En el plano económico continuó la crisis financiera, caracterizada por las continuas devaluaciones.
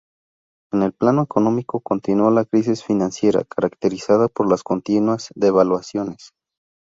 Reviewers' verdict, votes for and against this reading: accepted, 4, 0